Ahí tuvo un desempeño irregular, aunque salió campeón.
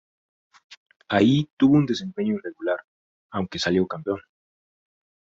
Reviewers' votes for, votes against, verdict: 2, 0, accepted